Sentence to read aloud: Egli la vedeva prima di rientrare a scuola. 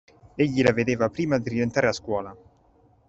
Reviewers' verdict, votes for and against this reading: accepted, 2, 0